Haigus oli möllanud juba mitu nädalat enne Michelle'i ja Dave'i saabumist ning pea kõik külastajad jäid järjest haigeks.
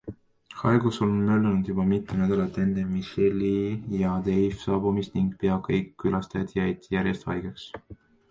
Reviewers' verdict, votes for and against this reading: accepted, 2, 1